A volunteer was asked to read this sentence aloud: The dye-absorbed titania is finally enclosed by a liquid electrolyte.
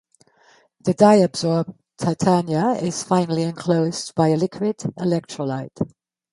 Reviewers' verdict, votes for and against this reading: accepted, 2, 0